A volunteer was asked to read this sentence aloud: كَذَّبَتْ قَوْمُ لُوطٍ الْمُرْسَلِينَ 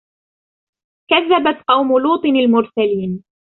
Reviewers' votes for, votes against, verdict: 2, 0, accepted